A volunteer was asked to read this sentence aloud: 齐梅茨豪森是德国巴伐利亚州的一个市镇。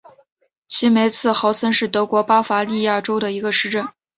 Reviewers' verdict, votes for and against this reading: accepted, 2, 0